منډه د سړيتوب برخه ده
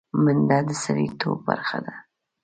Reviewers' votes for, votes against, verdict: 2, 0, accepted